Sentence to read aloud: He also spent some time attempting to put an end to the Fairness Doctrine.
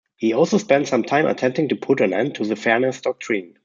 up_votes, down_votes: 2, 0